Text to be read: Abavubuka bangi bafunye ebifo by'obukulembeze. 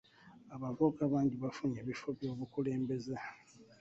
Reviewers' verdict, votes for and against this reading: rejected, 1, 2